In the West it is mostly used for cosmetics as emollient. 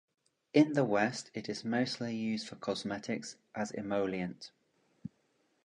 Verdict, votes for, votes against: accepted, 2, 0